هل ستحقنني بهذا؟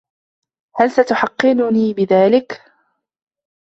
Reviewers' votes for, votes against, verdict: 0, 2, rejected